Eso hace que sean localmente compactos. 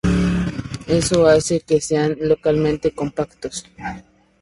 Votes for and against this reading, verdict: 2, 0, accepted